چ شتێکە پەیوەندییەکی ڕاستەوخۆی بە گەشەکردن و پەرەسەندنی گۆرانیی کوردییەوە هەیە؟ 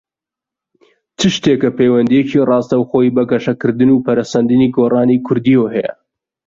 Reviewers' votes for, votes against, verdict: 0, 2, rejected